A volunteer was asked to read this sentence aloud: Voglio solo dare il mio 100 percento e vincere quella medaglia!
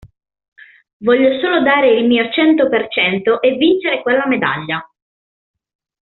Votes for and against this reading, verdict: 0, 2, rejected